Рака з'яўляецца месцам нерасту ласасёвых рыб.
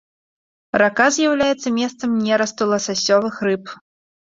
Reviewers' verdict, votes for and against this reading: accepted, 2, 0